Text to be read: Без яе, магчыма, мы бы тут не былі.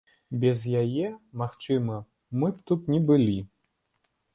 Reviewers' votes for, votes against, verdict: 1, 2, rejected